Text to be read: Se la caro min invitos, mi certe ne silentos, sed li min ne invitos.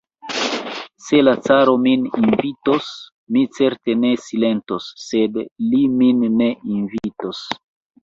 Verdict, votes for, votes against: accepted, 2, 1